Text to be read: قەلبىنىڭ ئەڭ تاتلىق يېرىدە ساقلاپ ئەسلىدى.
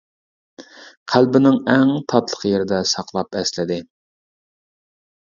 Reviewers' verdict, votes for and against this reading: accepted, 2, 0